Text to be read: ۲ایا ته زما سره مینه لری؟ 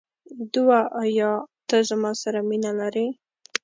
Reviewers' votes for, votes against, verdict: 0, 2, rejected